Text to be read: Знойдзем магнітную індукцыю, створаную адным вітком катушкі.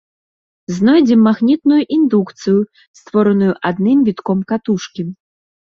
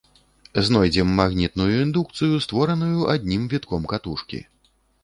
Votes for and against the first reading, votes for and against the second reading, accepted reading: 2, 0, 1, 2, first